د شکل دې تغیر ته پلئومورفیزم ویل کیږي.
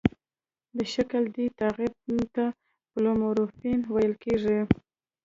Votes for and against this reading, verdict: 1, 2, rejected